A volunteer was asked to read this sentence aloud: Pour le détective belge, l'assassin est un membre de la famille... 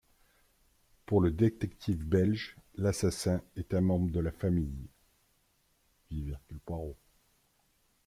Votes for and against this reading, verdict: 1, 2, rejected